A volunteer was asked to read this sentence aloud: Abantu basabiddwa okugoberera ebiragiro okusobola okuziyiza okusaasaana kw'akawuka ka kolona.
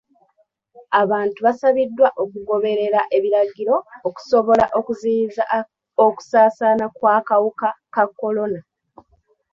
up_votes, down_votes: 1, 2